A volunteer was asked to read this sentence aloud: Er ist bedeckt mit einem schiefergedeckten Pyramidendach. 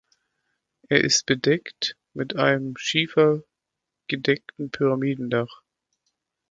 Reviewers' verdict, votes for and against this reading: rejected, 1, 2